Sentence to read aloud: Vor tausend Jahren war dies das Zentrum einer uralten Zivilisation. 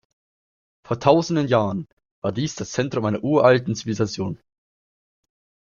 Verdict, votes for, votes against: rejected, 1, 2